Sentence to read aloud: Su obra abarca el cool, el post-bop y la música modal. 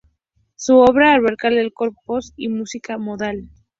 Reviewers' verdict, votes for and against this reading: rejected, 0, 2